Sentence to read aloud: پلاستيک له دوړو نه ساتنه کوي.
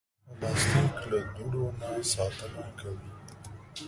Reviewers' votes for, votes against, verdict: 0, 2, rejected